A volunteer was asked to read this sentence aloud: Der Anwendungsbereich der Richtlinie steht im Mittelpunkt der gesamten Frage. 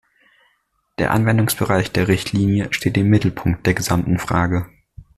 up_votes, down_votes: 2, 0